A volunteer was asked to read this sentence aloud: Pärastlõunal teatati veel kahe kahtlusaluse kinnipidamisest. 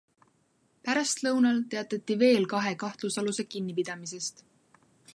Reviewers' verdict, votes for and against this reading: accepted, 2, 0